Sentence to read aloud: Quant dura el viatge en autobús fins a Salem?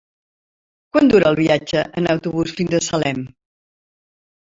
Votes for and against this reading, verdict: 3, 0, accepted